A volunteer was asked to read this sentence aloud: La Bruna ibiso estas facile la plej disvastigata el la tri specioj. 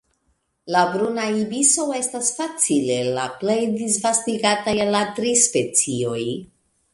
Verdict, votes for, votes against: rejected, 1, 2